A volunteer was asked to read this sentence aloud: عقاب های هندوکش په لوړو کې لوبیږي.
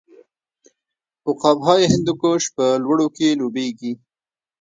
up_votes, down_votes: 0, 2